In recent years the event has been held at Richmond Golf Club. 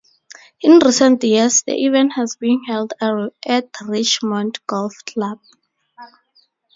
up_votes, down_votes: 0, 4